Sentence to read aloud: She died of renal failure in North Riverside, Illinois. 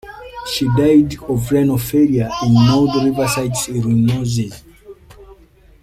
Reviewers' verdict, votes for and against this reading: rejected, 0, 2